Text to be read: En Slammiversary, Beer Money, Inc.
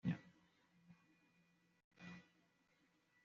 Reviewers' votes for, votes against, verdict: 1, 2, rejected